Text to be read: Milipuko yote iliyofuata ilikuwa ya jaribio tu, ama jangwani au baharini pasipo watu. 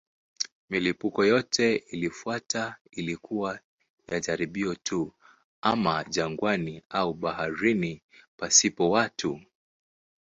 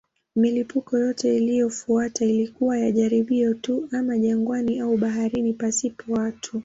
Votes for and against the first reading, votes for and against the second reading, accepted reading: 3, 4, 2, 0, second